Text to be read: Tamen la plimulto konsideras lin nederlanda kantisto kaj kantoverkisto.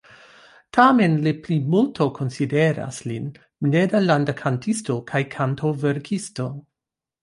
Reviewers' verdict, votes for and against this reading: rejected, 1, 2